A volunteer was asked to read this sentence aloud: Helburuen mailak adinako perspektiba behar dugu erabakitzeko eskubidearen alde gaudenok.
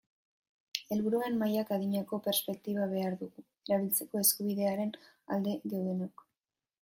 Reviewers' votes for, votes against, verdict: 0, 3, rejected